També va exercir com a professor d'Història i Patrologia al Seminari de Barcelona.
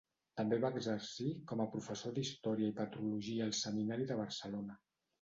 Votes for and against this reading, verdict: 1, 2, rejected